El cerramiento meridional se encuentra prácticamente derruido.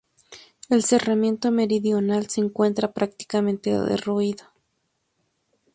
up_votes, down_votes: 2, 0